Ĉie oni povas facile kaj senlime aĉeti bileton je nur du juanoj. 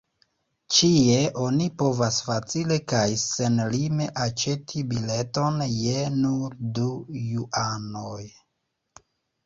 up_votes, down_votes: 3, 2